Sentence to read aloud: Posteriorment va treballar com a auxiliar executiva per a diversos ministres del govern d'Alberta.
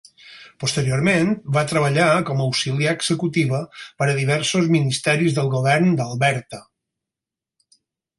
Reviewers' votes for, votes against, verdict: 2, 4, rejected